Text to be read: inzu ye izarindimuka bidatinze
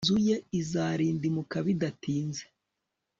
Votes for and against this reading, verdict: 3, 0, accepted